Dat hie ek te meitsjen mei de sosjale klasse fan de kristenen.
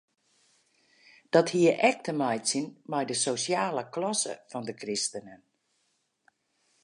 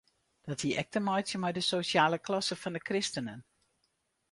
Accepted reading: first